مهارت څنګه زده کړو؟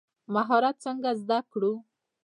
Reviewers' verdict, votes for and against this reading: rejected, 0, 2